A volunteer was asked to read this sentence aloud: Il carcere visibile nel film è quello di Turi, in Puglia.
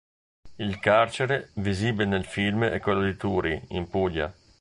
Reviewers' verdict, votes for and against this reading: rejected, 1, 2